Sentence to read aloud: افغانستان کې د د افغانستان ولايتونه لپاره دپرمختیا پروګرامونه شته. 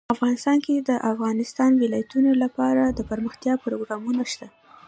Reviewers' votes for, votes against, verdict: 2, 0, accepted